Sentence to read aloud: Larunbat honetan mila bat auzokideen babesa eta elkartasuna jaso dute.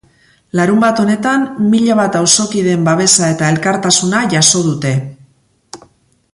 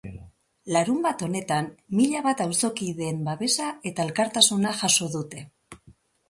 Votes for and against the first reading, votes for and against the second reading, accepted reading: 2, 0, 1, 2, first